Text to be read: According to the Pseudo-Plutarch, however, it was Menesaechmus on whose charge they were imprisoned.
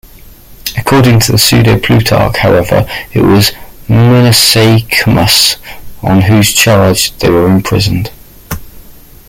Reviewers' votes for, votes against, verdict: 3, 0, accepted